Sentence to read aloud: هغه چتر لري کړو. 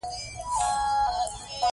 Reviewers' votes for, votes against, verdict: 2, 0, accepted